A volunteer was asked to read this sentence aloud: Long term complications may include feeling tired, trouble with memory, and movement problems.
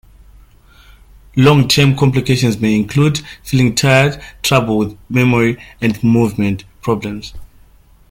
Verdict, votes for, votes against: accepted, 2, 0